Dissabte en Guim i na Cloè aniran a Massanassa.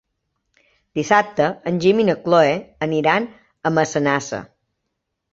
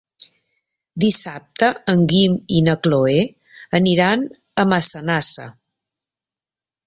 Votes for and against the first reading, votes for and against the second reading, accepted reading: 0, 2, 3, 0, second